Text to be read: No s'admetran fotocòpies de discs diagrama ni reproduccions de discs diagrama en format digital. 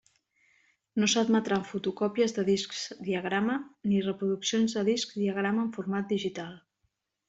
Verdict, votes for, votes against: accepted, 2, 0